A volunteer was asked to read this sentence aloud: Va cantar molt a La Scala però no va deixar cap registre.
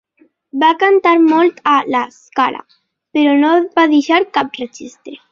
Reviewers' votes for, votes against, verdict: 2, 0, accepted